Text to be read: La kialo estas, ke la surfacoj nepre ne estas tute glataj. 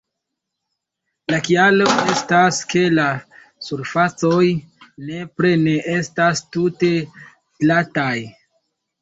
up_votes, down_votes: 2, 0